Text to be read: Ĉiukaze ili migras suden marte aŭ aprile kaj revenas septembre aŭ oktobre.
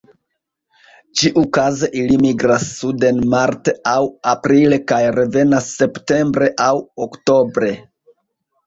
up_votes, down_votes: 0, 2